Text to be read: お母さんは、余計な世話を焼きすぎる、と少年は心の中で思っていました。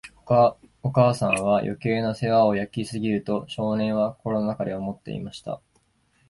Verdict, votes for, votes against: accepted, 2, 1